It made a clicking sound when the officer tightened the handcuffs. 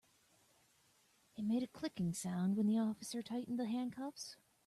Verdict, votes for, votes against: accepted, 2, 0